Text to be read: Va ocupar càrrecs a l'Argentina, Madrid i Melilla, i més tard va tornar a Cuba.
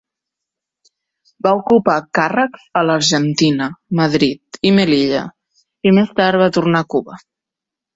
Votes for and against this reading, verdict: 3, 0, accepted